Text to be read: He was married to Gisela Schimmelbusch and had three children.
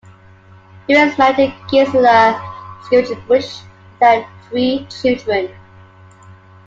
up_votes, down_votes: 0, 3